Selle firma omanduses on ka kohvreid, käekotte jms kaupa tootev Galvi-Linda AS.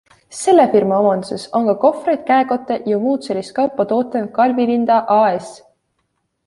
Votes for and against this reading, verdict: 2, 0, accepted